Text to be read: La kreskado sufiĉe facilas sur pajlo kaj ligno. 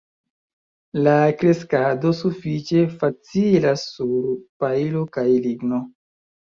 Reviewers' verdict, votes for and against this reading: accepted, 2, 0